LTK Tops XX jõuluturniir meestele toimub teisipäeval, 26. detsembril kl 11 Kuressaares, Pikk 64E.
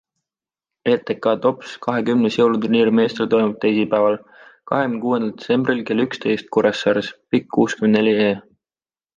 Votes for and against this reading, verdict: 0, 2, rejected